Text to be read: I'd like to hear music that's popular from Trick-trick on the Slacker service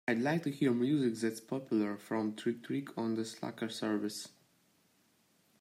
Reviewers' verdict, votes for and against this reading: accepted, 3, 1